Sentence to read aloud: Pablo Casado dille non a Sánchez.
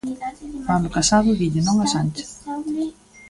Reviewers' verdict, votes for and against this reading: accepted, 2, 0